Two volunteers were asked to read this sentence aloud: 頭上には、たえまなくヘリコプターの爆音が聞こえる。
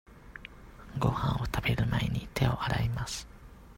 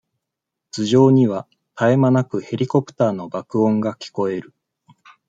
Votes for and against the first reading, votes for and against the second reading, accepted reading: 0, 2, 2, 0, second